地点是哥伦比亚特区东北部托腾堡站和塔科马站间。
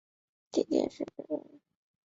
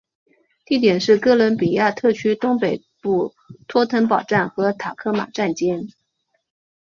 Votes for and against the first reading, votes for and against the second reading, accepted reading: 0, 2, 2, 0, second